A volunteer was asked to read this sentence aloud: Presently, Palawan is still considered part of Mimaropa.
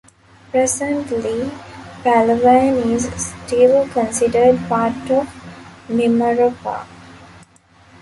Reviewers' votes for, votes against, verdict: 1, 2, rejected